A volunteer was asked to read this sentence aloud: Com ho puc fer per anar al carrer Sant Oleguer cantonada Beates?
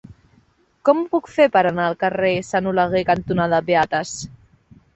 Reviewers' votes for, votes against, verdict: 2, 0, accepted